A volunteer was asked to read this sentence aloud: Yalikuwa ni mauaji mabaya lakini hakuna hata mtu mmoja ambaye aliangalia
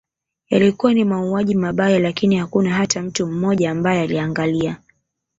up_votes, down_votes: 1, 2